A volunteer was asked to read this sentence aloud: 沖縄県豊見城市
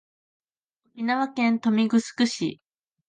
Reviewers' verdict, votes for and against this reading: accepted, 2, 0